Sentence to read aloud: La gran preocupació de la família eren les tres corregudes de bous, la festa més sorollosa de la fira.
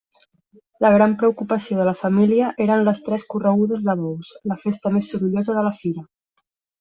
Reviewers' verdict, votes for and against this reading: rejected, 0, 2